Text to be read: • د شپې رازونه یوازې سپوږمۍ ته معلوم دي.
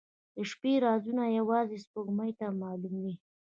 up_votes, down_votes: 2, 1